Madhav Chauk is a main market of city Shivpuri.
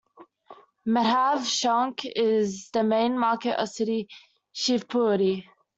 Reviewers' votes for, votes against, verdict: 0, 2, rejected